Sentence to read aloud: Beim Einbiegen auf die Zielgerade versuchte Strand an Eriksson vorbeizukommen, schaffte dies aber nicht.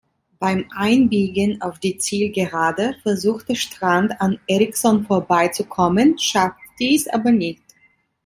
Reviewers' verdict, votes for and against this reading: accepted, 2, 0